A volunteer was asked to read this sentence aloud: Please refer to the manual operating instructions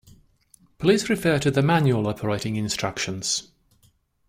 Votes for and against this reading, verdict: 2, 0, accepted